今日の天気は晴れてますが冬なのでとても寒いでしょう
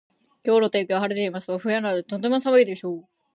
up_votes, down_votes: 0, 2